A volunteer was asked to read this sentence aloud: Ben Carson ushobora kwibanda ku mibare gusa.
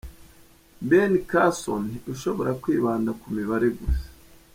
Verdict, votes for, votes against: accepted, 2, 0